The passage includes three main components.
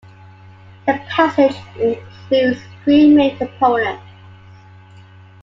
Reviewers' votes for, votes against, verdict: 1, 2, rejected